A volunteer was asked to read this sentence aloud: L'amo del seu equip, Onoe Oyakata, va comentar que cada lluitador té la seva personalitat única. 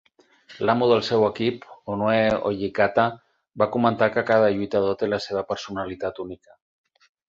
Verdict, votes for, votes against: rejected, 0, 4